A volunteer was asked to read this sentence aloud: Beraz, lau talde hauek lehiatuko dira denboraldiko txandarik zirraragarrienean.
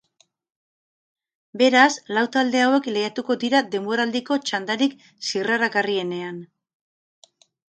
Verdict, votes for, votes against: accepted, 4, 0